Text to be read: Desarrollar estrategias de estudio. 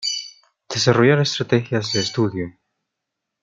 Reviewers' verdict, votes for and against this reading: rejected, 0, 2